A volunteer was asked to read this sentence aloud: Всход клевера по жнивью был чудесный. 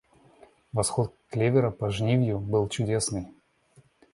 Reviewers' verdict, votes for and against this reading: rejected, 1, 2